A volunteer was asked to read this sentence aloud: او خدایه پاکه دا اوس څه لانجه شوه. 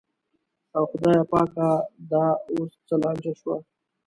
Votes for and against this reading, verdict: 0, 2, rejected